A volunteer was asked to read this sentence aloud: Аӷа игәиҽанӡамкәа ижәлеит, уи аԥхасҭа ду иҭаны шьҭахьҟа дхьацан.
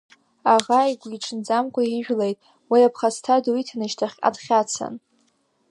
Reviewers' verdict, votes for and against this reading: accepted, 2, 1